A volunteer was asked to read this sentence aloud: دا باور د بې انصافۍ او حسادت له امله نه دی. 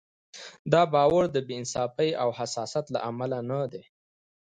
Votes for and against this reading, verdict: 2, 1, accepted